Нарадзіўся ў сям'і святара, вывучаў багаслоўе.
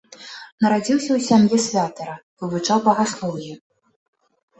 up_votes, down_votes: 0, 2